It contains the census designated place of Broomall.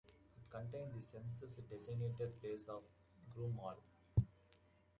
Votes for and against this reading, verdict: 2, 1, accepted